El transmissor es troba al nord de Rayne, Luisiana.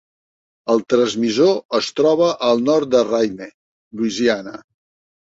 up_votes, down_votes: 3, 0